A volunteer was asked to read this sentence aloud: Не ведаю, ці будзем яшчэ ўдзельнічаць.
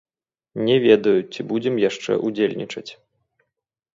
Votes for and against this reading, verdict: 1, 2, rejected